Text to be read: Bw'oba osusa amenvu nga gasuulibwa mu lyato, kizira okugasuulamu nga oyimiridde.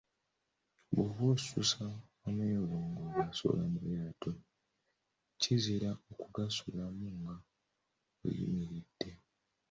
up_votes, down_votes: 1, 2